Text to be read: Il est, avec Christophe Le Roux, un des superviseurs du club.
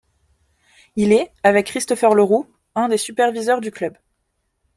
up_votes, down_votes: 0, 2